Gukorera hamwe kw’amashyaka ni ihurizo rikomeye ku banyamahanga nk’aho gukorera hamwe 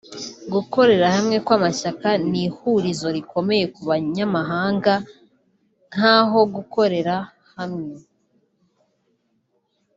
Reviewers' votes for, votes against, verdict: 3, 0, accepted